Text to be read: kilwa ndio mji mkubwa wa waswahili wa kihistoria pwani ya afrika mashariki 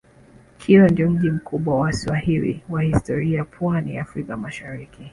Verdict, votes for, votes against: rejected, 1, 2